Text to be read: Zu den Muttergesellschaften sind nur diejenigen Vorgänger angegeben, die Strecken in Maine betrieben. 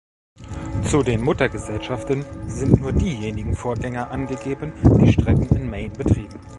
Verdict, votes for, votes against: rejected, 1, 2